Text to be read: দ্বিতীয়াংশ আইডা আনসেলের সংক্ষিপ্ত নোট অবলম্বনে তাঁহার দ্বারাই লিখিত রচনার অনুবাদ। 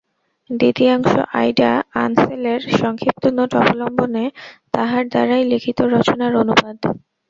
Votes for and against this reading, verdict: 2, 0, accepted